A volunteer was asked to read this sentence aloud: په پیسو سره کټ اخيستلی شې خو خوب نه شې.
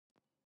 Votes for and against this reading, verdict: 1, 2, rejected